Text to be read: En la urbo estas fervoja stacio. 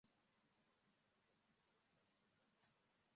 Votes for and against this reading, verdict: 0, 2, rejected